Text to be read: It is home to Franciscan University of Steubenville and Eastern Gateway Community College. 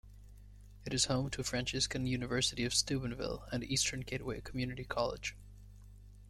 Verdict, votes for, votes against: accepted, 3, 0